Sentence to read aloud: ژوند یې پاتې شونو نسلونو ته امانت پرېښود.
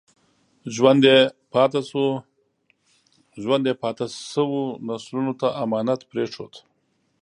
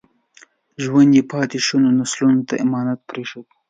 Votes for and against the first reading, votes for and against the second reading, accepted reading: 1, 2, 2, 0, second